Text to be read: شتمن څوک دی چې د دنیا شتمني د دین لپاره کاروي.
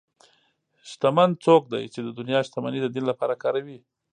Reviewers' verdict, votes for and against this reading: accepted, 2, 0